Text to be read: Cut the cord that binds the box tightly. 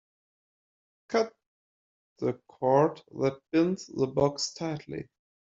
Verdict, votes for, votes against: rejected, 0, 2